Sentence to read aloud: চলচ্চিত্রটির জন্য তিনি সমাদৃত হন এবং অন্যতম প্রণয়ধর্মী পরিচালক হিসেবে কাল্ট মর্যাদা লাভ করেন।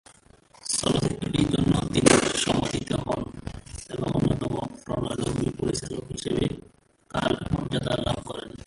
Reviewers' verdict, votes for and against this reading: rejected, 0, 2